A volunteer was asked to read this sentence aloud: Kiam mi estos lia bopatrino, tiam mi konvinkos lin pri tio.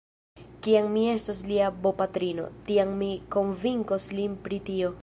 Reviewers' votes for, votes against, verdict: 2, 1, accepted